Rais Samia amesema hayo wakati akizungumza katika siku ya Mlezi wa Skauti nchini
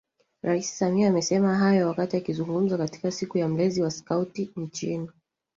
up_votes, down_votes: 0, 2